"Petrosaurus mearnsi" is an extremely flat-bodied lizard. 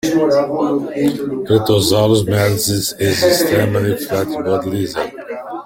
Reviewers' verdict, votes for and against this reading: accepted, 2, 1